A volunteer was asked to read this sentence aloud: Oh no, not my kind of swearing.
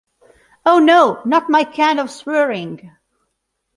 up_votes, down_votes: 2, 0